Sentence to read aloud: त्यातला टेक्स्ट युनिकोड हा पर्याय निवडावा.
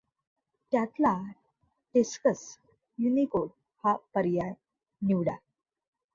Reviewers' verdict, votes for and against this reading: rejected, 1, 2